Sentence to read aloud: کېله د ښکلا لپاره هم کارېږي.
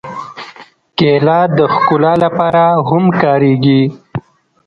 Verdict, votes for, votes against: rejected, 1, 2